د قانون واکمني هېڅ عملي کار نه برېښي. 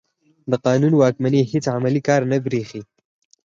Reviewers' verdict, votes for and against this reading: accepted, 6, 2